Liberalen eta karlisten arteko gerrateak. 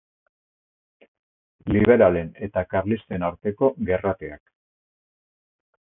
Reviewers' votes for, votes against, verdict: 0, 2, rejected